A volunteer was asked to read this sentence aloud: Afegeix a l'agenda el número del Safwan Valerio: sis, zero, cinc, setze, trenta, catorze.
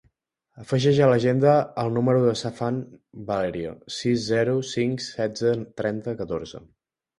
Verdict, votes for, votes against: rejected, 0, 2